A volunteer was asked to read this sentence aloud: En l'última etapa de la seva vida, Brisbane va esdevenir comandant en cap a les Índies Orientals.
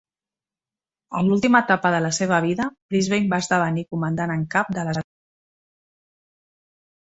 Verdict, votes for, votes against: rejected, 0, 2